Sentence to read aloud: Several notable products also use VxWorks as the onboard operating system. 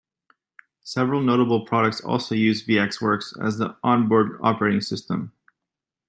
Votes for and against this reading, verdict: 2, 0, accepted